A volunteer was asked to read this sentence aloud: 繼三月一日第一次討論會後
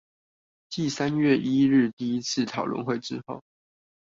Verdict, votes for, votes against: rejected, 0, 2